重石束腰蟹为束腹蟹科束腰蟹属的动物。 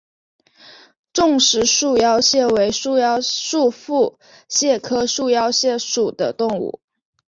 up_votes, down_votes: 0, 2